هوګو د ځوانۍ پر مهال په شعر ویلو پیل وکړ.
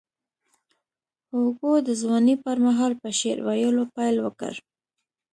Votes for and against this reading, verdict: 2, 0, accepted